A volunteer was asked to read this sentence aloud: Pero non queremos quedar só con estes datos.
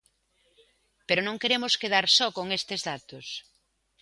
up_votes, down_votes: 2, 0